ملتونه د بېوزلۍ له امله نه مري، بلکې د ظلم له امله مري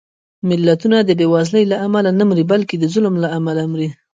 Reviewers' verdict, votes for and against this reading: accepted, 2, 0